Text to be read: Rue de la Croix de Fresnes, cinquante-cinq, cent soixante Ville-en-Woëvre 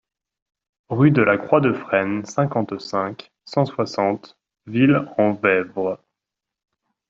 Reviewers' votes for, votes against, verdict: 2, 0, accepted